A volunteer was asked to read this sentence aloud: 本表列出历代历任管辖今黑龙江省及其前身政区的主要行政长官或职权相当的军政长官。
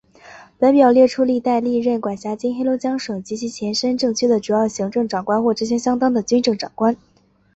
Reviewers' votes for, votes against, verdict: 4, 1, accepted